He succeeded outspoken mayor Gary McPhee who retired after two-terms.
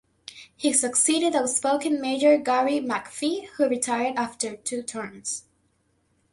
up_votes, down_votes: 2, 0